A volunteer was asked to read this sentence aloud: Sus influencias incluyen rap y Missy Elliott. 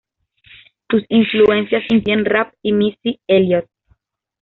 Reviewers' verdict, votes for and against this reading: accepted, 2, 0